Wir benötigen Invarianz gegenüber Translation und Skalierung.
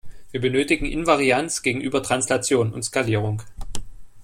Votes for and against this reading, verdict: 2, 0, accepted